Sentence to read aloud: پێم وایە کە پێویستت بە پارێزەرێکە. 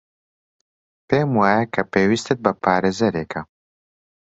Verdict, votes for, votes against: accepted, 3, 0